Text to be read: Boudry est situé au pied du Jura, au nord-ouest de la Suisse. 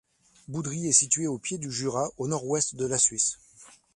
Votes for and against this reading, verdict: 2, 0, accepted